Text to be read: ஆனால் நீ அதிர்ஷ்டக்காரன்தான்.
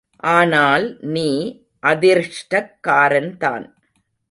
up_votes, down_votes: 1, 2